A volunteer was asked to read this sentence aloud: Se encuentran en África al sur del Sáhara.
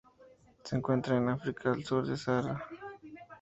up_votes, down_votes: 2, 0